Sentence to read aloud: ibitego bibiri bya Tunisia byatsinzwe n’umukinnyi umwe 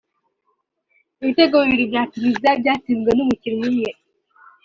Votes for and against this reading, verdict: 2, 0, accepted